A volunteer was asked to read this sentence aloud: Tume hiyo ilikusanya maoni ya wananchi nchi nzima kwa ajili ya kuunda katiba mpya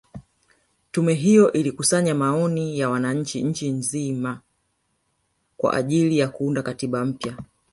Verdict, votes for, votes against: accepted, 2, 0